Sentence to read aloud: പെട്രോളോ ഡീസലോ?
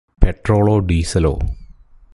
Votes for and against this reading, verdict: 2, 2, rejected